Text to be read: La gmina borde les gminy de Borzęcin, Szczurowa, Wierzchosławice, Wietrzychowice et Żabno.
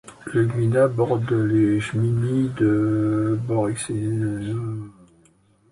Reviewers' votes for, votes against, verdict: 0, 2, rejected